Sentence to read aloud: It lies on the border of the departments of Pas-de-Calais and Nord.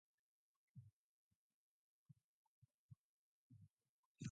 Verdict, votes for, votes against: rejected, 0, 2